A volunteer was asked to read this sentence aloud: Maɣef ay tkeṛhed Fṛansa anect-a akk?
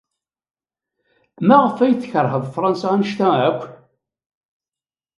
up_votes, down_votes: 3, 0